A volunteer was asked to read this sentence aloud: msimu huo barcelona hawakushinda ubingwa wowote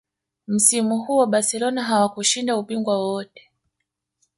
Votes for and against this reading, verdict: 2, 0, accepted